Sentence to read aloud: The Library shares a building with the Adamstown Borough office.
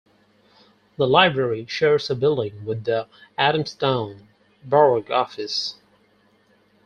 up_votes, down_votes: 4, 2